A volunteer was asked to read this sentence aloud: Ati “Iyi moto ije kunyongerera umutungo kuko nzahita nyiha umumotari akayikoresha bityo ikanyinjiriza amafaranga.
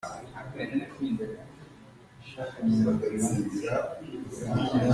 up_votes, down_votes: 0, 2